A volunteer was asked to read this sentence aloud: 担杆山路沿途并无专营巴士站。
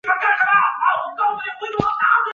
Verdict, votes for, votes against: rejected, 0, 9